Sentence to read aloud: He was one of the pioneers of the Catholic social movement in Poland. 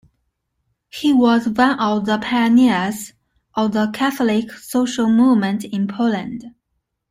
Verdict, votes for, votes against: accepted, 2, 0